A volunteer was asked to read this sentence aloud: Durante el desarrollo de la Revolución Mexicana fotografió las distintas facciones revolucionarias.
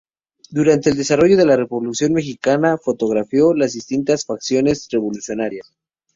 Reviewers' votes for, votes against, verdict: 2, 0, accepted